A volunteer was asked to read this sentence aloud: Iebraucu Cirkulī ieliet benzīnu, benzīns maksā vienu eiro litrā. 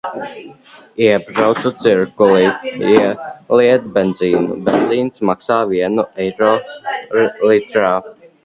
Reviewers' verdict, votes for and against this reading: rejected, 1, 2